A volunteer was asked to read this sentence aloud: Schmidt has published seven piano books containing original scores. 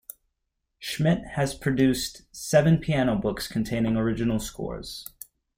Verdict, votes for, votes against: rejected, 0, 2